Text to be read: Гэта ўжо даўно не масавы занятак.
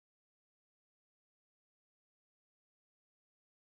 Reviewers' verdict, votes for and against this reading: rejected, 0, 2